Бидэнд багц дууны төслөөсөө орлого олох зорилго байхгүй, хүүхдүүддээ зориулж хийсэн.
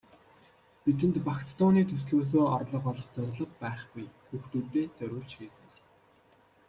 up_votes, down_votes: 0, 2